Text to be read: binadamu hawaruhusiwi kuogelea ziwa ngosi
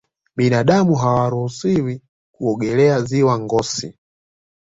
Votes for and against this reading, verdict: 2, 0, accepted